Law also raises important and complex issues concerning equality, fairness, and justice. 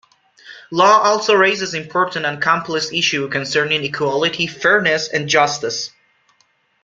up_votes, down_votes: 1, 2